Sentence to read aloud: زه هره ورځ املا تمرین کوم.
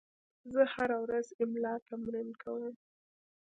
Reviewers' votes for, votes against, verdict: 0, 2, rejected